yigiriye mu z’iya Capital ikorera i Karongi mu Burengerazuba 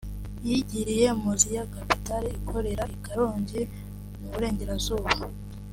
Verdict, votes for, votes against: accepted, 3, 0